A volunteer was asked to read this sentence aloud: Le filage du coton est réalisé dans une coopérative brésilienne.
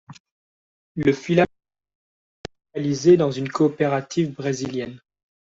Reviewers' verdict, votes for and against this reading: rejected, 0, 2